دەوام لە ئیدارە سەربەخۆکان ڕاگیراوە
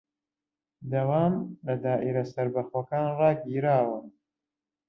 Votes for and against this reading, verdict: 0, 2, rejected